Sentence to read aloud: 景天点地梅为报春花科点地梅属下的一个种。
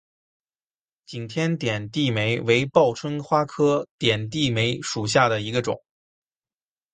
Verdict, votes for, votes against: accepted, 6, 2